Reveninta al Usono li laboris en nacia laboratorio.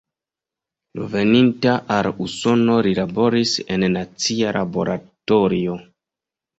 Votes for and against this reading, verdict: 2, 0, accepted